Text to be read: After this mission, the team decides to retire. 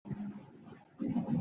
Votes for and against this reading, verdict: 0, 2, rejected